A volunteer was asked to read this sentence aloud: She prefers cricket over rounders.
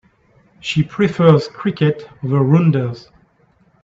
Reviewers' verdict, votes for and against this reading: rejected, 0, 2